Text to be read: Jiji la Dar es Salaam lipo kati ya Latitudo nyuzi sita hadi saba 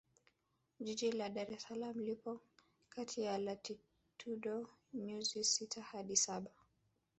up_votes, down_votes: 1, 2